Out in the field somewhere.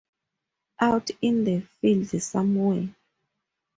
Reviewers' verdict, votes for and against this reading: rejected, 2, 2